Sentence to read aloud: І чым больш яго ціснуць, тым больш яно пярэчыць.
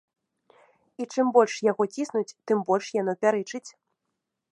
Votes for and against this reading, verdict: 2, 0, accepted